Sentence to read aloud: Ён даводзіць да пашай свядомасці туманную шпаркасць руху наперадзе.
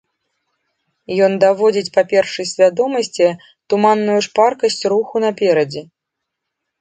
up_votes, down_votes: 1, 2